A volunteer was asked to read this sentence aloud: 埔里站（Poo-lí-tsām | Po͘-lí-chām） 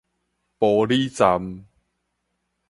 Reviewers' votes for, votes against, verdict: 4, 0, accepted